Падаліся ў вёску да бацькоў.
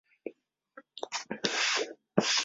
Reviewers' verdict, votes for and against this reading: rejected, 0, 2